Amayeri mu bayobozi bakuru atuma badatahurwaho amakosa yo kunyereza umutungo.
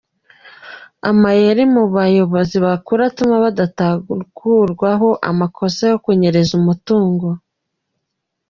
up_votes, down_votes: 1, 3